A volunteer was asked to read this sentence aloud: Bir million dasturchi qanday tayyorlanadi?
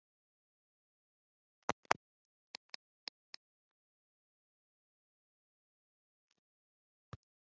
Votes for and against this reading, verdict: 0, 2, rejected